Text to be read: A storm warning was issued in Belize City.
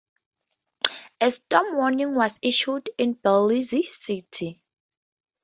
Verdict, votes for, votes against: rejected, 0, 2